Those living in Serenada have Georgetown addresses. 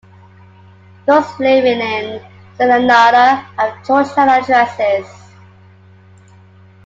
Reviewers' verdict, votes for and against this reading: accepted, 2, 1